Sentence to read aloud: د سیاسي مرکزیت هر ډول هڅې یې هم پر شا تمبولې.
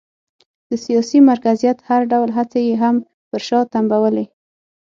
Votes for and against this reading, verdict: 6, 0, accepted